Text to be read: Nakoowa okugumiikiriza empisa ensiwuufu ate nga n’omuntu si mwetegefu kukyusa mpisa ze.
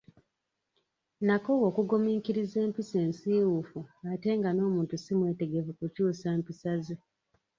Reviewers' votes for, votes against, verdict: 2, 0, accepted